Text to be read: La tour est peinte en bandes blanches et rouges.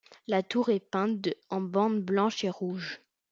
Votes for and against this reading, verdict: 0, 2, rejected